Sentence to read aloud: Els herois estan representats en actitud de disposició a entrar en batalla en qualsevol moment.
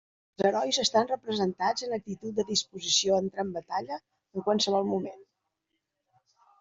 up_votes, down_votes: 1, 2